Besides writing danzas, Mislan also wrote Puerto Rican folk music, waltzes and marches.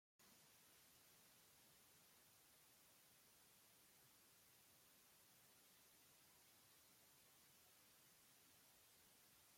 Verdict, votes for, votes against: rejected, 1, 2